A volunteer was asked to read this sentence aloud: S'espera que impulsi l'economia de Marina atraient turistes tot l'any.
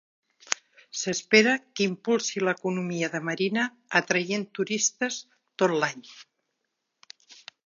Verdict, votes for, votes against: accepted, 4, 0